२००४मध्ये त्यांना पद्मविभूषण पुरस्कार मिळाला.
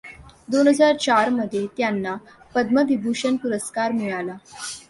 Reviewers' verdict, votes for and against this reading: rejected, 0, 2